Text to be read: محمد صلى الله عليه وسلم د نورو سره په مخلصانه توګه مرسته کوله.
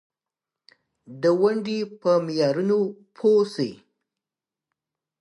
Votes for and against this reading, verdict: 0, 2, rejected